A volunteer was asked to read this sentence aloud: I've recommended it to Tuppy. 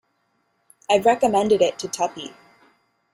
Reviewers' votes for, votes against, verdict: 0, 2, rejected